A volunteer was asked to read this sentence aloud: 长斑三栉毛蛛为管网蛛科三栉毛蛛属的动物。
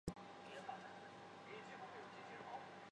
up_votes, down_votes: 0, 3